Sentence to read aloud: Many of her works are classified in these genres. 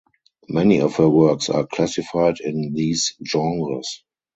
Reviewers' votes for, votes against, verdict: 4, 0, accepted